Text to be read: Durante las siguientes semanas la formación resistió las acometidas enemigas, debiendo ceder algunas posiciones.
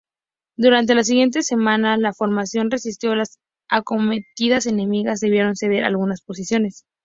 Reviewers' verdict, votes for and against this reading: accepted, 2, 0